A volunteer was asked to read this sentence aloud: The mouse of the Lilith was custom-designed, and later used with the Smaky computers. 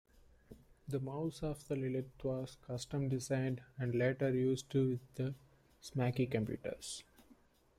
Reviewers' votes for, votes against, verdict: 2, 0, accepted